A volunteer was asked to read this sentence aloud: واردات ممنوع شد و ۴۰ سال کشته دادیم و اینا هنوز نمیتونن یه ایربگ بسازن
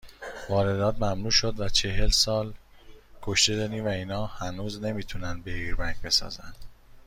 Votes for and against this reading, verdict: 0, 2, rejected